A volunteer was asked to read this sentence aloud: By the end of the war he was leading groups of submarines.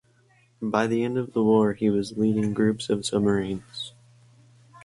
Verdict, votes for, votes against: accepted, 4, 0